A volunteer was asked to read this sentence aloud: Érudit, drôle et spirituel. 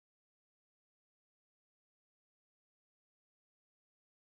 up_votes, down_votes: 1, 2